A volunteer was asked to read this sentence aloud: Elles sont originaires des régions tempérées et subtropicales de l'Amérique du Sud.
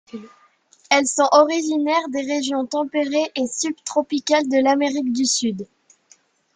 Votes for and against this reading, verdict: 2, 0, accepted